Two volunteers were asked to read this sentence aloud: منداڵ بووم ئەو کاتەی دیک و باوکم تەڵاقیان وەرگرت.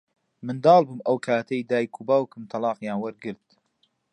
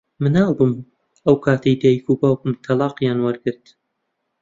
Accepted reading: first